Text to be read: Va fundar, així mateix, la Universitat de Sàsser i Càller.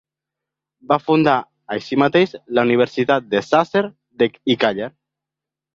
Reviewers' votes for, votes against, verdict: 2, 3, rejected